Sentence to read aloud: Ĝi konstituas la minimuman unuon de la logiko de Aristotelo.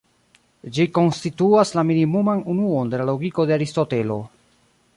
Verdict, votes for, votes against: rejected, 1, 2